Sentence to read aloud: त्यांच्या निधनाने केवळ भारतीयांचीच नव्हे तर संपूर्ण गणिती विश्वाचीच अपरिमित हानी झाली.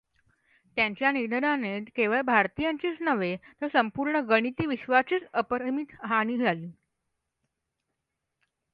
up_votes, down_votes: 2, 0